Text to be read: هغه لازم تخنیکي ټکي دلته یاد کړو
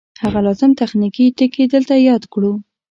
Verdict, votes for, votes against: accepted, 3, 0